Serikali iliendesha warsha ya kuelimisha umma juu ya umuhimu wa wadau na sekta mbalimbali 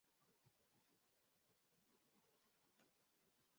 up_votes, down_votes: 0, 2